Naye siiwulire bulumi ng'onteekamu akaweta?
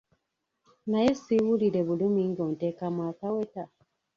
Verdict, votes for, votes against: rejected, 1, 2